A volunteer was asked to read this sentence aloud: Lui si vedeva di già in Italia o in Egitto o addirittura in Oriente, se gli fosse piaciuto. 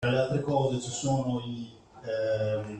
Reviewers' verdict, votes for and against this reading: rejected, 0, 2